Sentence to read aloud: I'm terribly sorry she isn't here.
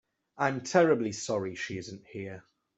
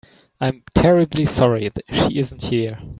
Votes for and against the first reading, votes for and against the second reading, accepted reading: 2, 0, 1, 2, first